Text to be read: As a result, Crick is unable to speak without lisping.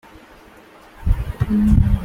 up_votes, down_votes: 0, 2